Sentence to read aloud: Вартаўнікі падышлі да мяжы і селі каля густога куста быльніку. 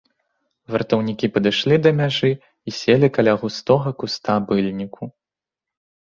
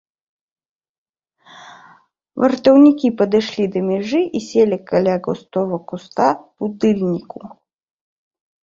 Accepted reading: first